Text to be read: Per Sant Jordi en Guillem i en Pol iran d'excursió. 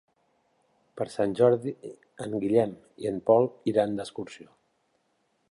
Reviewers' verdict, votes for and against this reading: accepted, 4, 0